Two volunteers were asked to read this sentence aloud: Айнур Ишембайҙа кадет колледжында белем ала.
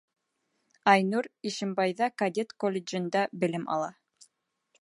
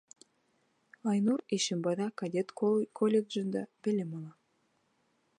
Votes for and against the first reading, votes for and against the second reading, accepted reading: 2, 0, 1, 2, first